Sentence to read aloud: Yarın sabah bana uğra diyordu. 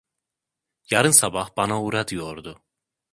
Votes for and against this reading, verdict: 2, 0, accepted